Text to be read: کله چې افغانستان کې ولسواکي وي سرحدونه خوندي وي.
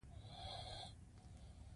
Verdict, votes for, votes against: rejected, 1, 2